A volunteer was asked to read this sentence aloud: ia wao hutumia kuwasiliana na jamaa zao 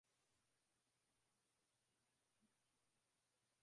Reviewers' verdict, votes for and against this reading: rejected, 0, 2